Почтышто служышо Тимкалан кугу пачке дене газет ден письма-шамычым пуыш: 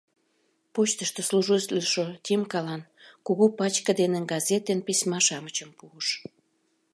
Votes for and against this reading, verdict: 0, 2, rejected